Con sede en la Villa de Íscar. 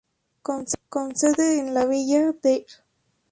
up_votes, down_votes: 0, 2